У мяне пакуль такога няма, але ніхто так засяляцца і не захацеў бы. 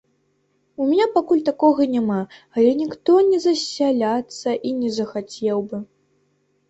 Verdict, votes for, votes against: rejected, 0, 2